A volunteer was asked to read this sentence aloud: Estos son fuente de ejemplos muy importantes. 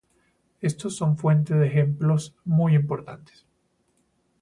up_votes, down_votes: 2, 0